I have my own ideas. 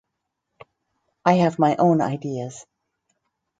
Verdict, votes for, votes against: accepted, 4, 0